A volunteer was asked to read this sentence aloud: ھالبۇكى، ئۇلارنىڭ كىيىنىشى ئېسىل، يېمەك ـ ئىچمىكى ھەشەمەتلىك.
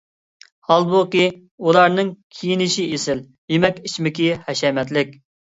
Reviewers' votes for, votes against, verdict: 2, 0, accepted